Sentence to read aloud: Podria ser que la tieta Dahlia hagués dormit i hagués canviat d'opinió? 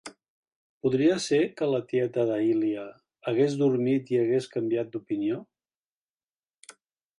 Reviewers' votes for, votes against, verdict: 0, 2, rejected